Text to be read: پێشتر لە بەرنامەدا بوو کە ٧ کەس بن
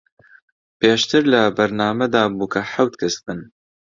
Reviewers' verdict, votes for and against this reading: rejected, 0, 2